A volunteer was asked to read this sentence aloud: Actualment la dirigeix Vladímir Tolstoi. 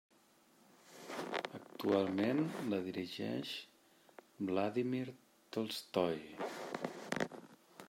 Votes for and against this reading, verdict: 0, 2, rejected